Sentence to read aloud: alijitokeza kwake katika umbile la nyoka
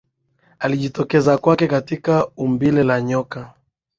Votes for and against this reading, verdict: 11, 0, accepted